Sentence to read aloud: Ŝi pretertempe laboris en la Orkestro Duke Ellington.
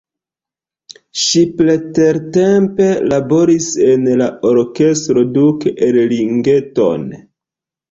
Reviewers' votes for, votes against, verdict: 1, 2, rejected